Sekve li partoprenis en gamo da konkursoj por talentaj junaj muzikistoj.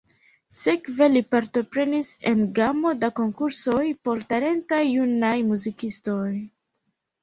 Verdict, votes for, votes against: rejected, 0, 3